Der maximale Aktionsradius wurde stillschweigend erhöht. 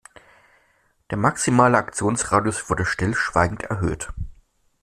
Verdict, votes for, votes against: accepted, 2, 0